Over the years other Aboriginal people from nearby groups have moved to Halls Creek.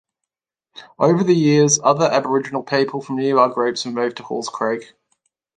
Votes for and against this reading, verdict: 3, 0, accepted